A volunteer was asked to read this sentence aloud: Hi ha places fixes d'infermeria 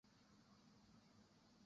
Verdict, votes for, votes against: rejected, 0, 2